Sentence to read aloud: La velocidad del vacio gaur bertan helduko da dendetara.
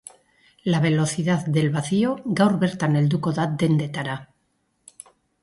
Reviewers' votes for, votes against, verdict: 3, 0, accepted